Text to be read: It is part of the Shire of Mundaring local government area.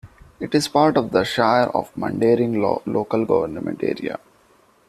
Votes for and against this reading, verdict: 1, 2, rejected